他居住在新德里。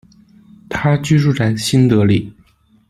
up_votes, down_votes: 2, 0